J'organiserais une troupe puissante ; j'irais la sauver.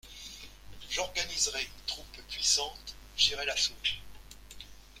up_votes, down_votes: 2, 0